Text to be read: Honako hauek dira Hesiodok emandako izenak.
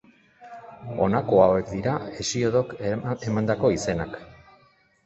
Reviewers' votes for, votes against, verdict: 0, 2, rejected